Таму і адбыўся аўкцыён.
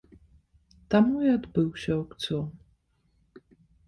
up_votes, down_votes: 1, 2